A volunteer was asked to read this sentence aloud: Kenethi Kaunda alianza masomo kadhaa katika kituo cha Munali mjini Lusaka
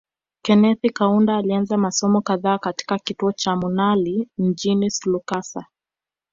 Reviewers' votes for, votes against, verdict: 1, 2, rejected